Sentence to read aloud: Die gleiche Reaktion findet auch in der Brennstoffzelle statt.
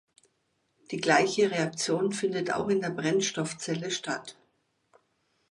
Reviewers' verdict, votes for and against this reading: accepted, 2, 0